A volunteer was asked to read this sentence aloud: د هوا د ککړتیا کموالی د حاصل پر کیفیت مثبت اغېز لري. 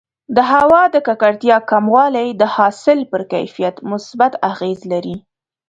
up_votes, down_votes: 4, 0